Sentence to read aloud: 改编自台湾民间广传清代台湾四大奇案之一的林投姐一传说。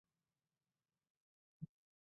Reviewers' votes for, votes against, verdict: 0, 3, rejected